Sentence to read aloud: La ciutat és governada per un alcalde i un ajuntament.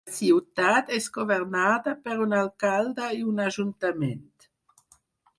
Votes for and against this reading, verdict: 2, 4, rejected